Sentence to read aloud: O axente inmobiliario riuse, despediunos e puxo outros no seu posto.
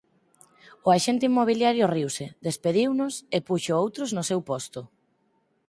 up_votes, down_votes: 4, 0